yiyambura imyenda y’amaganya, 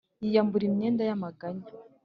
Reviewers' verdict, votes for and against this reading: accepted, 2, 0